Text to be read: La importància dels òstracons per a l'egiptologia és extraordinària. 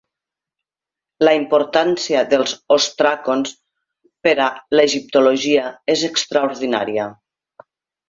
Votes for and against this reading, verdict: 3, 1, accepted